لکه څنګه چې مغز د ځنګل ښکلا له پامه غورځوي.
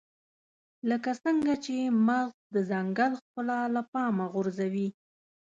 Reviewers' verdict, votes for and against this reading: accepted, 2, 0